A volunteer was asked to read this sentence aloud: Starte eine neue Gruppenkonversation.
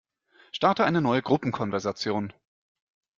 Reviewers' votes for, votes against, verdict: 2, 0, accepted